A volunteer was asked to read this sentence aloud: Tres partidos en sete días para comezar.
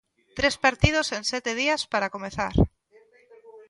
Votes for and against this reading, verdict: 0, 2, rejected